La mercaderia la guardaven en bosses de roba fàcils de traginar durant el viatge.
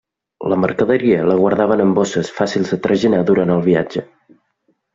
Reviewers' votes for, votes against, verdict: 0, 2, rejected